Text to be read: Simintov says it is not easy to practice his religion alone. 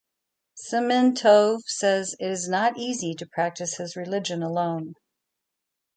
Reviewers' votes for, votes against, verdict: 3, 0, accepted